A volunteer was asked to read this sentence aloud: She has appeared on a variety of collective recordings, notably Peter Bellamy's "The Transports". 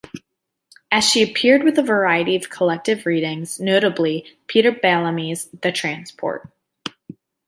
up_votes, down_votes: 0, 2